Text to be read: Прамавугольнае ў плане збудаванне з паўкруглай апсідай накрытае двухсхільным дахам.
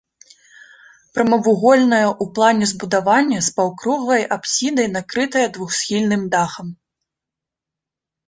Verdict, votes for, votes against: accepted, 2, 0